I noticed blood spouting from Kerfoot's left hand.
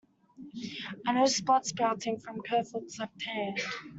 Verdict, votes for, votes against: accepted, 2, 1